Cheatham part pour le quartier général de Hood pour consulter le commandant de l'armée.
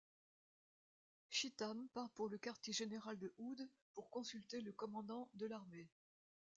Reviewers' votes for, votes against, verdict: 0, 2, rejected